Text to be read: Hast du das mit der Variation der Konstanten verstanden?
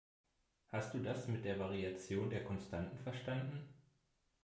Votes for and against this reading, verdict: 2, 0, accepted